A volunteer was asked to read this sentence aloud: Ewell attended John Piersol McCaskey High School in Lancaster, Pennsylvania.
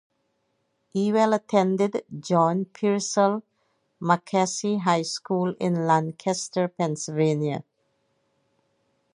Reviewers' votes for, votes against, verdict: 2, 0, accepted